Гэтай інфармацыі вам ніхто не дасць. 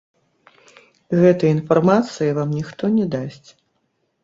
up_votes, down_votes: 1, 2